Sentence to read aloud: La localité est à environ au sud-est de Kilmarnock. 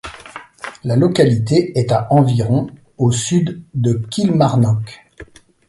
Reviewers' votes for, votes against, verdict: 0, 2, rejected